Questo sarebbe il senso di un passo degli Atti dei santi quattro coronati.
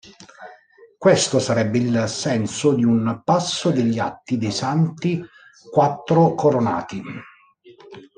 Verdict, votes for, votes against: rejected, 1, 2